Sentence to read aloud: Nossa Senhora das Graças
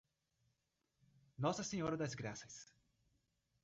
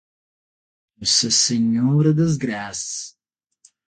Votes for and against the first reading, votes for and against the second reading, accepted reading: 2, 1, 3, 6, first